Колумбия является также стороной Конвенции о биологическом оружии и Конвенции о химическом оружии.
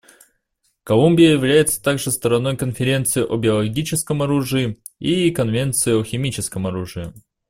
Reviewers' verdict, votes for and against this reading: rejected, 0, 2